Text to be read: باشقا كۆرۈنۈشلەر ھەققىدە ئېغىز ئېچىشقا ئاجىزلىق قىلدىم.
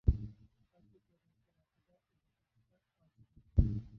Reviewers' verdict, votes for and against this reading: rejected, 0, 2